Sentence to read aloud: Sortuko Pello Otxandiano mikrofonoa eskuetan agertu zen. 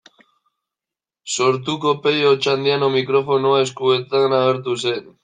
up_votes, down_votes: 0, 2